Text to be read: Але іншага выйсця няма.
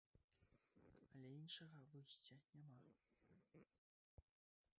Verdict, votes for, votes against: rejected, 1, 2